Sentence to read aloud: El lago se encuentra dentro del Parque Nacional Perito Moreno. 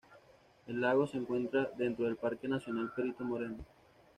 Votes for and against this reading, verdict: 2, 0, accepted